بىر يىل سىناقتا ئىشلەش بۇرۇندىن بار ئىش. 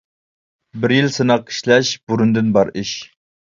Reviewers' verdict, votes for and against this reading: accepted, 2, 1